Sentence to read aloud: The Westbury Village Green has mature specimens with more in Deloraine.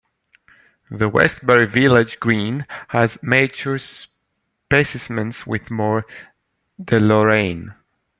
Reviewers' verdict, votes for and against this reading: rejected, 1, 2